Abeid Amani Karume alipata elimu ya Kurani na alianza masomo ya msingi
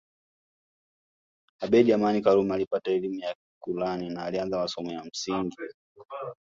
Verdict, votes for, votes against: accepted, 2, 0